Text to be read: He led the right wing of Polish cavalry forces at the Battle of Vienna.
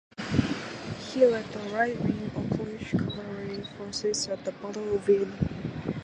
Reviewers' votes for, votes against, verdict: 2, 0, accepted